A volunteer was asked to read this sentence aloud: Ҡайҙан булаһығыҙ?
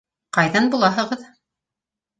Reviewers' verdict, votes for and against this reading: accepted, 3, 0